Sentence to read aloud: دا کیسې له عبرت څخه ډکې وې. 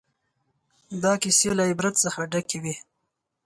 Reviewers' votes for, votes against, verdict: 4, 0, accepted